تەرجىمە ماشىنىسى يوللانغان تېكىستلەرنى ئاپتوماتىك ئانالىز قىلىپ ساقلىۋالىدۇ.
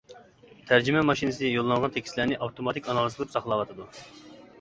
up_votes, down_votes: 0, 2